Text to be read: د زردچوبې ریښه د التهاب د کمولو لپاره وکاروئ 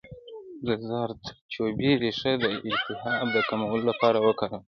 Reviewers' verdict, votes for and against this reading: accepted, 2, 0